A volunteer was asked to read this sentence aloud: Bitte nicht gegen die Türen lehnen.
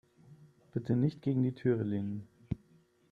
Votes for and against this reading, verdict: 0, 3, rejected